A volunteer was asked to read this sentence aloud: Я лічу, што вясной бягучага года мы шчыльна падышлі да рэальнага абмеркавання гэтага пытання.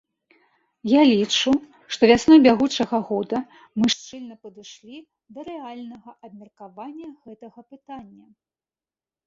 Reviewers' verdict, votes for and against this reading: rejected, 0, 2